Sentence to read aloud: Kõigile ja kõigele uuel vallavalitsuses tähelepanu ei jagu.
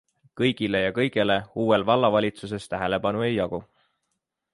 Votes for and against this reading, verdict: 2, 0, accepted